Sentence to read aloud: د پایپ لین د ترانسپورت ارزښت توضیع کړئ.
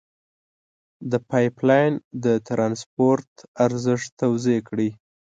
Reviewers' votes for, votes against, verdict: 3, 0, accepted